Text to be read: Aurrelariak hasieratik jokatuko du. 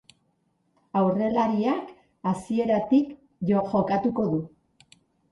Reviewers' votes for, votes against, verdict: 0, 2, rejected